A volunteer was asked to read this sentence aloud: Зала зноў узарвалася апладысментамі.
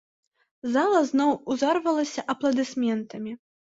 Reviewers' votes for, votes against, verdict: 0, 2, rejected